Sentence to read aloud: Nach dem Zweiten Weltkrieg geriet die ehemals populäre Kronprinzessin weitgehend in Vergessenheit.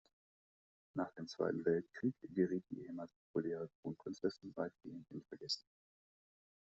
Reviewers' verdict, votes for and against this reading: rejected, 1, 2